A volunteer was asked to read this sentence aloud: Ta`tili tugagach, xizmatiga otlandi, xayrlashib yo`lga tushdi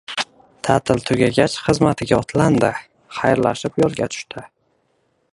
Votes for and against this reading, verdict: 1, 2, rejected